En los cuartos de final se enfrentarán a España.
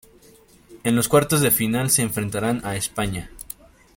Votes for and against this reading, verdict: 2, 0, accepted